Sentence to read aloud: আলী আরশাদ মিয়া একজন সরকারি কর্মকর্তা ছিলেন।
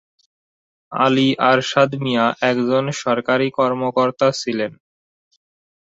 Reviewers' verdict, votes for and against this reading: rejected, 0, 2